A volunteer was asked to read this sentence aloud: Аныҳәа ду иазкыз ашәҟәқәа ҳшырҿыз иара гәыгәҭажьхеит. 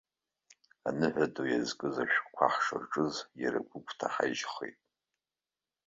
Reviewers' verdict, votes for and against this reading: rejected, 0, 3